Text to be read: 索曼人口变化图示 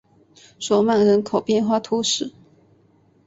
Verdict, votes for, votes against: accepted, 3, 0